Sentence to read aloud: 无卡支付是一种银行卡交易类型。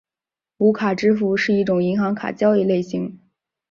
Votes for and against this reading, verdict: 5, 0, accepted